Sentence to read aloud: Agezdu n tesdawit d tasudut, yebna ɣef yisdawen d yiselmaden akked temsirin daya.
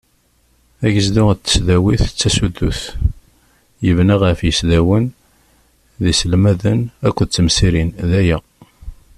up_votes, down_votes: 2, 0